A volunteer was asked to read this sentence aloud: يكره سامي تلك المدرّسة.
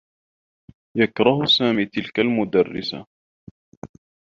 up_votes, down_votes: 2, 0